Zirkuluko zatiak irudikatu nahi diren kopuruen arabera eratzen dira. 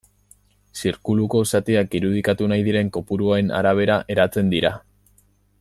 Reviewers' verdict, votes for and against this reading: accepted, 2, 0